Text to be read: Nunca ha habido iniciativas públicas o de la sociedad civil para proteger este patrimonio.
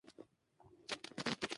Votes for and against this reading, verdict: 0, 2, rejected